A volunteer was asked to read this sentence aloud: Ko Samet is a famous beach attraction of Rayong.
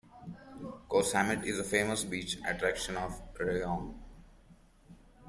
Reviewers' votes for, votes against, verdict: 1, 2, rejected